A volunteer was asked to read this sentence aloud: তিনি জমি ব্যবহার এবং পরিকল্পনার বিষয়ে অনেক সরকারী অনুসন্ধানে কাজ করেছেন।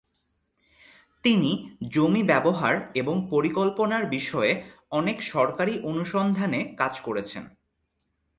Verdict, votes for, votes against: accepted, 2, 0